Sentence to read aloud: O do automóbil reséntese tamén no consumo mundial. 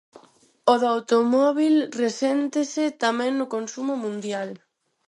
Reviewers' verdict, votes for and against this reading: accepted, 4, 0